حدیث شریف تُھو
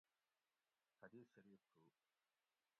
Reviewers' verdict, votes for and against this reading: rejected, 1, 2